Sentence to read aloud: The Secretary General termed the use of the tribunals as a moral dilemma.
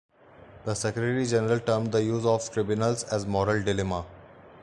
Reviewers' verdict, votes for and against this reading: rejected, 1, 2